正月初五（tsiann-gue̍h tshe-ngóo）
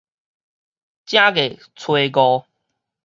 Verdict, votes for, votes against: accepted, 4, 0